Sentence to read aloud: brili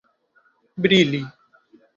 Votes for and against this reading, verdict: 2, 0, accepted